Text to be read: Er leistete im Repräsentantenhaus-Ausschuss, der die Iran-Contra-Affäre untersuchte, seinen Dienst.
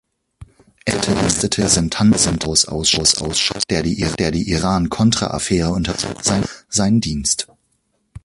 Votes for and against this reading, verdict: 0, 2, rejected